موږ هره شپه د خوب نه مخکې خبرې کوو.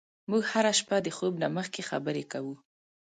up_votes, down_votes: 2, 0